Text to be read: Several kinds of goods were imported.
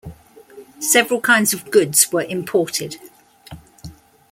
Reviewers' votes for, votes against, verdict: 2, 0, accepted